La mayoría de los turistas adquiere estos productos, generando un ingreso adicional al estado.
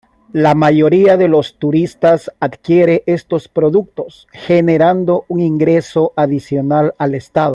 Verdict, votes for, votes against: accepted, 2, 0